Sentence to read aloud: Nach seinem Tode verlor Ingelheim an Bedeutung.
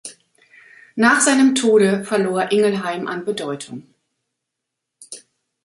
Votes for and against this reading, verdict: 2, 0, accepted